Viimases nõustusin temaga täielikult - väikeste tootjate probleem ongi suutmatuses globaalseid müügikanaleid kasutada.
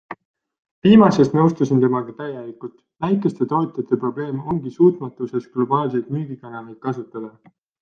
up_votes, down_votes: 2, 1